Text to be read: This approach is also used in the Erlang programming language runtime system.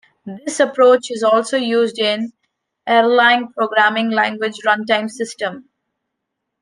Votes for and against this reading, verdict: 1, 2, rejected